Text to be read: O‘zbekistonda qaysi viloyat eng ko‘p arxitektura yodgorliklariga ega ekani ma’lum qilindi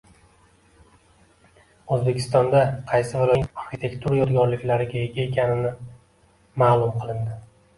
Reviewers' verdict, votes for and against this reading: rejected, 0, 2